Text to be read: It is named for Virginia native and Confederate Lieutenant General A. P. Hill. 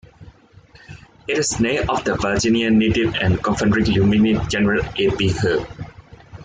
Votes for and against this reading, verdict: 1, 2, rejected